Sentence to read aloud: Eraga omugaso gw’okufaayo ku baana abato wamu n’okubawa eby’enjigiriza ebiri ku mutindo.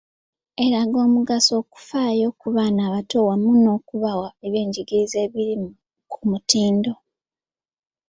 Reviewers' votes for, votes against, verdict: 1, 2, rejected